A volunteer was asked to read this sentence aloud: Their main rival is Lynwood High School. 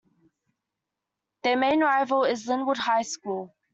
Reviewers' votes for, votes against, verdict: 2, 0, accepted